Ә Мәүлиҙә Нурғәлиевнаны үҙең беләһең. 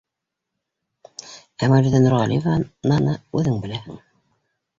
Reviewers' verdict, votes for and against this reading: rejected, 1, 2